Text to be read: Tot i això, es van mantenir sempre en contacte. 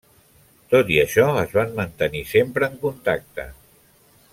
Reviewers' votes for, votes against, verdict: 3, 0, accepted